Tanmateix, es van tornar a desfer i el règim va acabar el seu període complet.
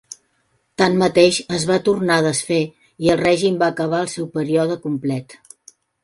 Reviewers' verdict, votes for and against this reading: accepted, 2, 0